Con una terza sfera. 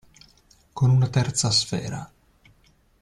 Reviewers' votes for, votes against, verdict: 2, 0, accepted